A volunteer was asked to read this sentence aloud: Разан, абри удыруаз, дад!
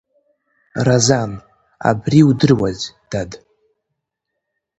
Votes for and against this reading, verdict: 2, 1, accepted